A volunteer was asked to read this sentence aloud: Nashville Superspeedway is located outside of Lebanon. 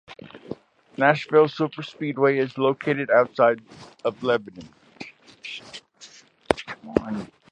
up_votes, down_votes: 2, 0